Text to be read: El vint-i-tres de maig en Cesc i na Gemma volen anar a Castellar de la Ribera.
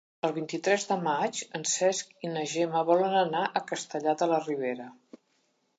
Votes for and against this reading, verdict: 4, 0, accepted